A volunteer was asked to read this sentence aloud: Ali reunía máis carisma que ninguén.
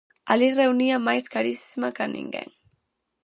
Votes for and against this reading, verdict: 2, 2, rejected